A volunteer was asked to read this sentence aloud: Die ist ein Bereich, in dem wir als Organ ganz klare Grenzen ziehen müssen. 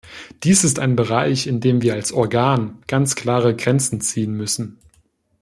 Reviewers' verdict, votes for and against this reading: rejected, 1, 2